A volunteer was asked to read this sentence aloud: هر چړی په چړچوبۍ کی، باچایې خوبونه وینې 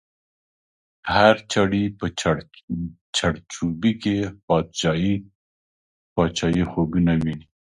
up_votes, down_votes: 0, 2